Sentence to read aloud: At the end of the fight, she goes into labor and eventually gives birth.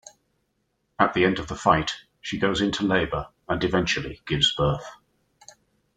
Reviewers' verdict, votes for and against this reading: accepted, 2, 0